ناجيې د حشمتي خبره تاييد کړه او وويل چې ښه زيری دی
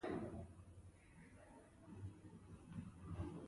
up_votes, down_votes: 1, 2